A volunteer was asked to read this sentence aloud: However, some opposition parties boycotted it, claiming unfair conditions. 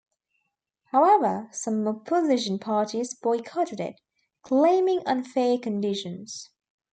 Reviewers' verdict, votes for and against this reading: accepted, 2, 0